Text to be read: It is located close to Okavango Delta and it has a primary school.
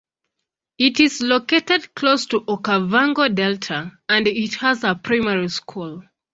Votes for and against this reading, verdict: 2, 0, accepted